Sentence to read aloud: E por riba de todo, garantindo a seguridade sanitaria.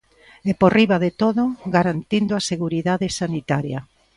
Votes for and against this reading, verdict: 4, 0, accepted